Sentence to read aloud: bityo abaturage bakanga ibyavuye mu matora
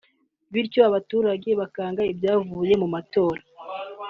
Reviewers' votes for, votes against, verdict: 2, 0, accepted